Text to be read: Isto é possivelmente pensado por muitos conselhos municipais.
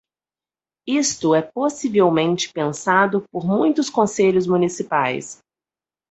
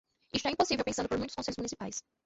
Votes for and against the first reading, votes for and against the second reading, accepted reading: 4, 0, 1, 2, first